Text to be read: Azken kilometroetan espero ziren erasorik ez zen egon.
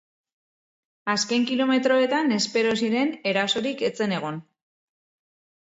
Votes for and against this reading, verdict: 2, 0, accepted